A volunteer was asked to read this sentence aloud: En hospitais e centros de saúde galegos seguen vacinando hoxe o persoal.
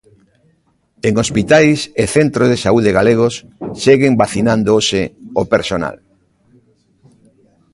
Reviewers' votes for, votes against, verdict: 0, 2, rejected